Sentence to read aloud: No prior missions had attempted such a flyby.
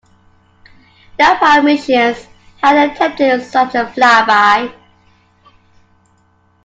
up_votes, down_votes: 2, 1